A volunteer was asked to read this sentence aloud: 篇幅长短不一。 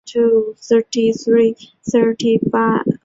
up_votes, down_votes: 0, 2